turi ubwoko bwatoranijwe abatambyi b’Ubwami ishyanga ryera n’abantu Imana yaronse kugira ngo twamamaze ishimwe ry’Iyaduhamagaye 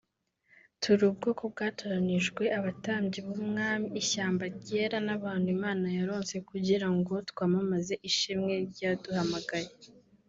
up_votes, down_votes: 0, 2